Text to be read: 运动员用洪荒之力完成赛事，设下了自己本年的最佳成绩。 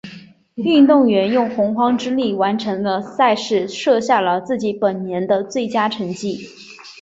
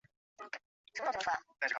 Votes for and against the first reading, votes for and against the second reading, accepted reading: 2, 0, 0, 2, first